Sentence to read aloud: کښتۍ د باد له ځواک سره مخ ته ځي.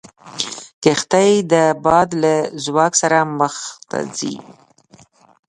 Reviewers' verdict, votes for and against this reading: accepted, 2, 0